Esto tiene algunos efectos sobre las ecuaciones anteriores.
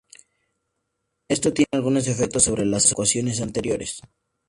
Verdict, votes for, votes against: accepted, 2, 0